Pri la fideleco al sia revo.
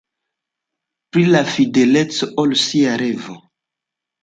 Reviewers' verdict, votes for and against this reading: accepted, 2, 1